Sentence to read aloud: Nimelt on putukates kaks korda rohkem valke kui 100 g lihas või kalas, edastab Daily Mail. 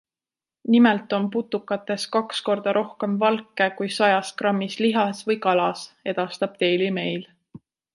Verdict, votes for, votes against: rejected, 0, 2